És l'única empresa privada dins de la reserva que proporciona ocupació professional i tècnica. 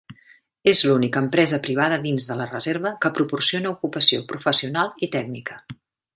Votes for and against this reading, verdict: 3, 0, accepted